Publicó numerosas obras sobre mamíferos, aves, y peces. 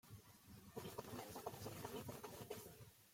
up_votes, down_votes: 0, 2